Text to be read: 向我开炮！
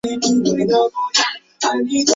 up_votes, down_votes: 0, 2